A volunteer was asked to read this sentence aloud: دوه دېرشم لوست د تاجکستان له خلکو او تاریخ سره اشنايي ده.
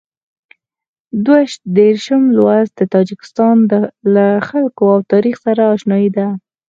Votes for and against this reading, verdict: 4, 0, accepted